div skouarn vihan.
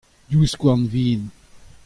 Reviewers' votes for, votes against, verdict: 2, 0, accepted